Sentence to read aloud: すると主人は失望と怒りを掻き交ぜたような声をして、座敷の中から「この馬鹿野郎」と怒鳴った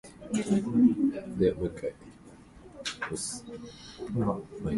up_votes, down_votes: 1, 3